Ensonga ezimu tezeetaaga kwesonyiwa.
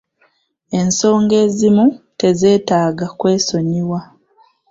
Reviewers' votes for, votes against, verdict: 1, 2, rejected